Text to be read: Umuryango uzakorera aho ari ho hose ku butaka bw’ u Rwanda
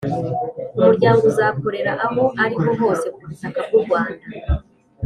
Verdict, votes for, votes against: accepted, 2, 0